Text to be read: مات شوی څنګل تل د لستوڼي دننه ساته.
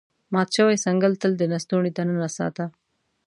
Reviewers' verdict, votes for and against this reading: accepted, 2, 0